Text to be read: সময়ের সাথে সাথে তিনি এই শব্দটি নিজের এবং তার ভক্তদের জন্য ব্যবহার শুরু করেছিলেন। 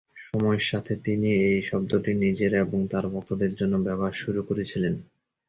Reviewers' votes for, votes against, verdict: 0, 2, rejected